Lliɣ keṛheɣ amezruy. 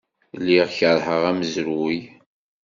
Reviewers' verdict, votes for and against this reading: accepted, 2, 0